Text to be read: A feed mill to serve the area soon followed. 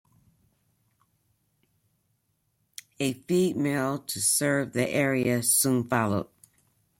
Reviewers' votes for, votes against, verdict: 1, 2, rejected